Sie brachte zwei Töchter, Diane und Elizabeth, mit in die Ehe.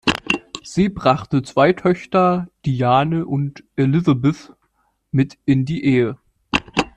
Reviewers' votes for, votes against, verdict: 2, 0, accepted